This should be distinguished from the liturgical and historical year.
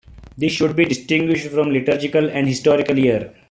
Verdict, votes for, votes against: rejected, 0, 2